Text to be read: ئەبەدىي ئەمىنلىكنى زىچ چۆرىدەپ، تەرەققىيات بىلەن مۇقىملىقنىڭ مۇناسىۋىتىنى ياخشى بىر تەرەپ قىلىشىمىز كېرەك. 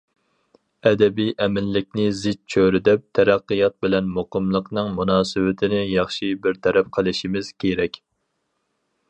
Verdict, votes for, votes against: rejected, 2, 2